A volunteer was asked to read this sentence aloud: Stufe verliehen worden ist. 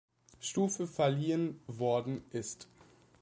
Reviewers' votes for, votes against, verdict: 2, 0, accepted